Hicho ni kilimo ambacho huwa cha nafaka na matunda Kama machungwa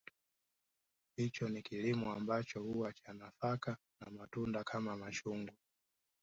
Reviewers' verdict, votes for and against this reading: rejected, 1, 2